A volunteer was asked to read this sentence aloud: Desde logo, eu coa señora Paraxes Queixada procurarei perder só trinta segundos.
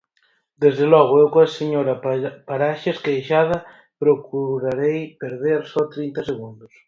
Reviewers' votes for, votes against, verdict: 0, 4, rejected